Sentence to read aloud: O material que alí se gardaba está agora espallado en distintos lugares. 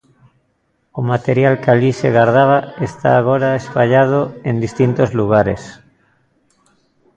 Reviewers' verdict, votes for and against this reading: rejected, 1, 2